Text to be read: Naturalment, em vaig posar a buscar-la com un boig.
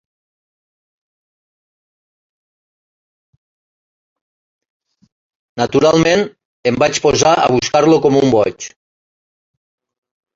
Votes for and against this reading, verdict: 0, 2, rejected